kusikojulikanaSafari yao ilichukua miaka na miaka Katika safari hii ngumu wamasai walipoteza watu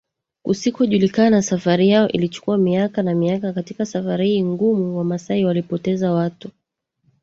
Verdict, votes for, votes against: rejected, 1, 2